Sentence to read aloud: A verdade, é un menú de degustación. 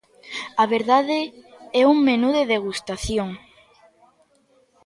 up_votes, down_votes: 2, 0